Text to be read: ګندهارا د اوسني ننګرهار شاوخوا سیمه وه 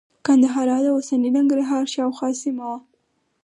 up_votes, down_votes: 4, 0